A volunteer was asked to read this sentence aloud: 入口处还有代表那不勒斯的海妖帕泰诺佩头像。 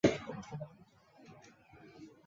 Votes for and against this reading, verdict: 0, 2, rejected